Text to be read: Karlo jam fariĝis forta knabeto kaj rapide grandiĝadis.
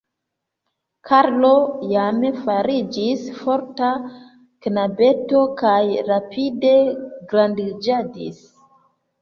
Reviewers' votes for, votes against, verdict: 1, 2, rejected